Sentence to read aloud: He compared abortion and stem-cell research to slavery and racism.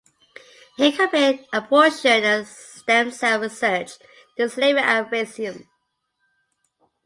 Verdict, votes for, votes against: accepted, 2, 0